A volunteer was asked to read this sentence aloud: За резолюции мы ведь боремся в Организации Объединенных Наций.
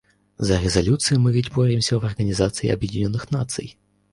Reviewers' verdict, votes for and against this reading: accepted, 2, 0